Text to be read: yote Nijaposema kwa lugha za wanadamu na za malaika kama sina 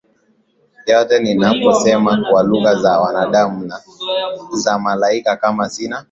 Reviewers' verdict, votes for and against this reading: rejected, 1, 2